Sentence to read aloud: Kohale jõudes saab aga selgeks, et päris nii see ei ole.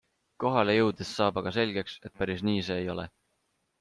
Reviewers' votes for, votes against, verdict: 2, 0, accepted